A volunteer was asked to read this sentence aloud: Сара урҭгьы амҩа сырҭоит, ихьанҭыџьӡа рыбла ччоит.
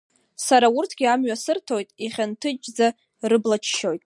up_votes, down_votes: 2, 0